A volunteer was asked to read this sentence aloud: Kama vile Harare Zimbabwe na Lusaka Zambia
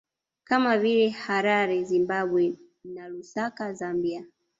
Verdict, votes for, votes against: rejected, 1, 2